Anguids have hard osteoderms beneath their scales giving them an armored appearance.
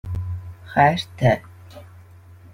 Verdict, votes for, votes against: rejected, 0, 2